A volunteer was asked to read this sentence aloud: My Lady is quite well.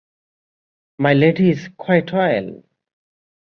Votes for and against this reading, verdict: 2, 1, accepted